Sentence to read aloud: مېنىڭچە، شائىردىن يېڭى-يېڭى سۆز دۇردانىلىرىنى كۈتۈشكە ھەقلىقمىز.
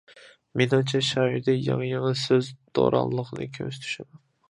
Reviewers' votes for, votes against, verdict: 0, 2, rejected